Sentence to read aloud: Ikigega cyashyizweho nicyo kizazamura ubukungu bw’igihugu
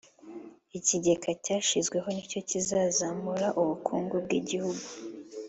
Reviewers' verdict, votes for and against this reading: accepted, 2, 0